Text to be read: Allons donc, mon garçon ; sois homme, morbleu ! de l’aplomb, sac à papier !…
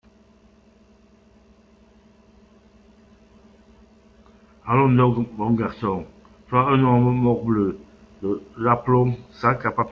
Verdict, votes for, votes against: rejected, 0, 2